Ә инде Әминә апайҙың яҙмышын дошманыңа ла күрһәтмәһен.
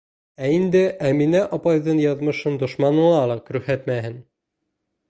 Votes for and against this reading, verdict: 2, 1, accepted